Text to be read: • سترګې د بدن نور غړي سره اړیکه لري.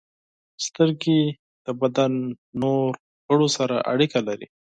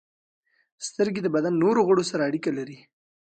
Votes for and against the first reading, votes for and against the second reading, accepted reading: 0, 6, 2, 0, second